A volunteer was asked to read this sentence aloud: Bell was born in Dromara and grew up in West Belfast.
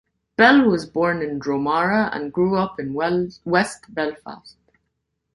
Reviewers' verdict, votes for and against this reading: rejected, 0, 2